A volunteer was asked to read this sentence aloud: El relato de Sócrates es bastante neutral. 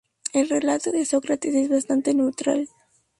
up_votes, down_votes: 2, 0